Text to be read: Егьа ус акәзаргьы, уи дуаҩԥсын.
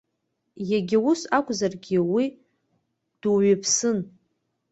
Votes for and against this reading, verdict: 2, 0, accepted